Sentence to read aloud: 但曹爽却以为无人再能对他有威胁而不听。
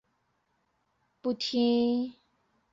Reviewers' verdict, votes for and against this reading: rejected, 0, 6